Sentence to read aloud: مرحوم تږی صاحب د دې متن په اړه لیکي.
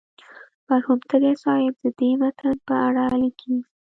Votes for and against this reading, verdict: 0, 2, rejected